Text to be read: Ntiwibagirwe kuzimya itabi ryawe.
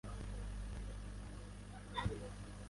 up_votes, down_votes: 1, 2